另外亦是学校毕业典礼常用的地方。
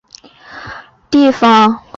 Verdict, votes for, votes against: rejected, 0, 3